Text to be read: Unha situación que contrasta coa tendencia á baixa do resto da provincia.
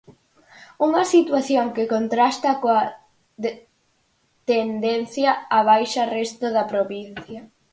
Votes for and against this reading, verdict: 0, 4, rejected